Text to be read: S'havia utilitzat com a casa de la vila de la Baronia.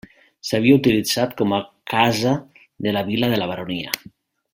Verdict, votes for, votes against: accepted, 3, 1